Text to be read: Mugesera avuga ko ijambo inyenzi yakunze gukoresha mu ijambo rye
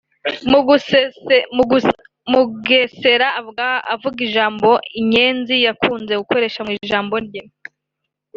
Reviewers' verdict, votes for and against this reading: rejected, 0, 2